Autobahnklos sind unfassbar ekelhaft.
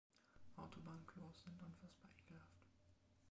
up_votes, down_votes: 2, 1